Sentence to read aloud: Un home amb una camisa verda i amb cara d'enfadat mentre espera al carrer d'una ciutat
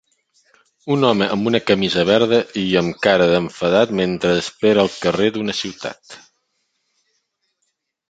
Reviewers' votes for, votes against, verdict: 3, 0, accepted